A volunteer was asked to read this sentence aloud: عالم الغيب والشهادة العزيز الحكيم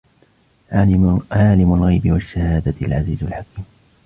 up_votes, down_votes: 0, 2